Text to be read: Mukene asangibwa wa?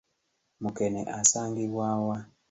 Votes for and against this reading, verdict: 2, 0, accepted